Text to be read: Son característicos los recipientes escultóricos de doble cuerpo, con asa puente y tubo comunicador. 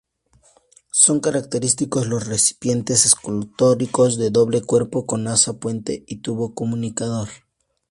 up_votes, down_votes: 2, 0